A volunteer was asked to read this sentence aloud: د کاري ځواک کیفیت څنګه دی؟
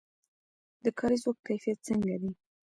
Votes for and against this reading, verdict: 0, 2, rejected